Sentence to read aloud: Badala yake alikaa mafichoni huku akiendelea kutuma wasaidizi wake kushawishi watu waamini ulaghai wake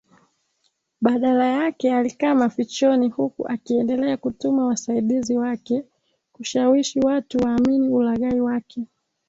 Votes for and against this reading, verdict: 2, 0, accepted